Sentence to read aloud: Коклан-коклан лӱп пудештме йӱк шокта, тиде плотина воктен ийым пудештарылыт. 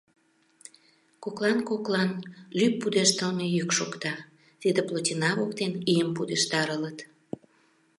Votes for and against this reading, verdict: 0, 2, rejected